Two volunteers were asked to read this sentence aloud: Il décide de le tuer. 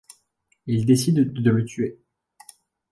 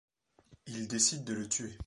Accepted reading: second